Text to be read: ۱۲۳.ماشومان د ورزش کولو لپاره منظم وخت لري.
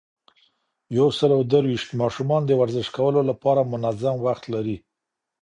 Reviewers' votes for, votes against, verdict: 0, 2, rejected